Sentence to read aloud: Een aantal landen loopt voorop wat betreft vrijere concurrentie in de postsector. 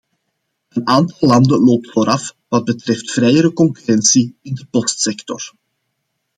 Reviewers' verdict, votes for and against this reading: rejected, 0, 2